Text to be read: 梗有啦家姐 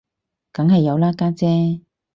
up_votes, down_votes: 4, 0